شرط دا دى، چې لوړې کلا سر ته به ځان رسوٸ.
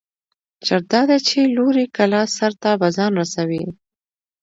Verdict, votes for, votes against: accepted, 2, 0